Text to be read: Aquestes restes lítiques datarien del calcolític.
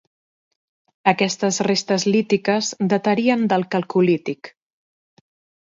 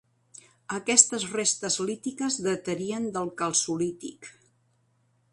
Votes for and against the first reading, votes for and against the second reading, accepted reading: 2, 0, 2, 3, first